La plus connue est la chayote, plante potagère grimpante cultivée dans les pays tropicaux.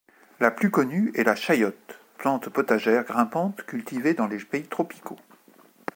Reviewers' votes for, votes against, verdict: 1, 2, rejected